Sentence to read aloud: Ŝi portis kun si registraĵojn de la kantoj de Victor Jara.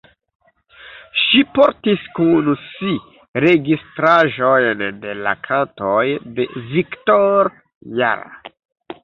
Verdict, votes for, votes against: rejected, 0, 2